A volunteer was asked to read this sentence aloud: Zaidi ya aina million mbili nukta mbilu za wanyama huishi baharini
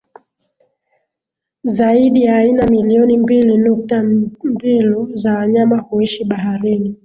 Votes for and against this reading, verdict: 1, 2, rejected